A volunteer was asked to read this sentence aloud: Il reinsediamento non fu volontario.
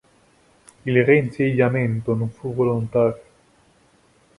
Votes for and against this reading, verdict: 2, 0, accepted